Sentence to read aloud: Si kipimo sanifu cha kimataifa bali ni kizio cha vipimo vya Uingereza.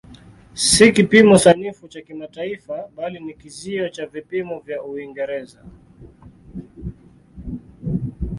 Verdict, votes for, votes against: accepted, 2, 1